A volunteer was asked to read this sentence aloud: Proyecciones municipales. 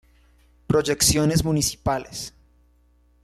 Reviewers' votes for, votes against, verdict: 2, 0, accepted